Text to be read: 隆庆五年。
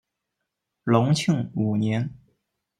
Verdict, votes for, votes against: accepted, 2, 0